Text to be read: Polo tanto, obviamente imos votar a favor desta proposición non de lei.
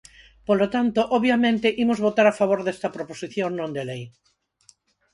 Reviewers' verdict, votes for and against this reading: accepted, 4, 0